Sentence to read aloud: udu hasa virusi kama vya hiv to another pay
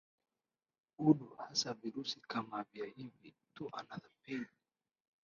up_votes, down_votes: 7, 9